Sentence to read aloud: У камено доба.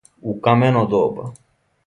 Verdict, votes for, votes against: accepted, 2, 0